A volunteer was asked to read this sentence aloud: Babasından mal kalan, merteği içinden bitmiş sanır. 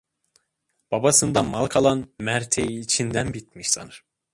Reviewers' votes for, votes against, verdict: 2, 1, accepted